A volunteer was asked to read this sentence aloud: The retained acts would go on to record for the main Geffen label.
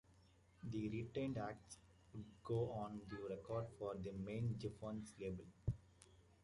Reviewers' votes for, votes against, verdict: 1, 2, rejected